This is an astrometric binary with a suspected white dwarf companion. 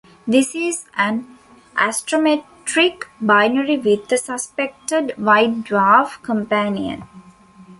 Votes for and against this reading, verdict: 2, 1, accepted